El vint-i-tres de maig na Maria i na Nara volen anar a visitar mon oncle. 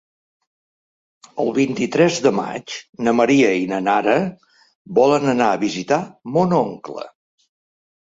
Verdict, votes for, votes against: accepted, 3, 0